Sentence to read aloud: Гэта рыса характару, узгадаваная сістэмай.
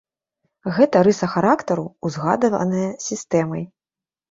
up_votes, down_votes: 0, 2